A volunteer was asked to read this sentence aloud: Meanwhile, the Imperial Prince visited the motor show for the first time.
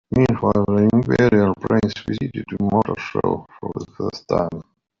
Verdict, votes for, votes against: rejected, 1, 2